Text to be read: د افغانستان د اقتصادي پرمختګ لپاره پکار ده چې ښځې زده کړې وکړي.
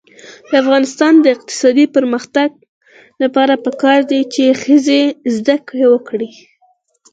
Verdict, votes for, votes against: accepted, 4, 0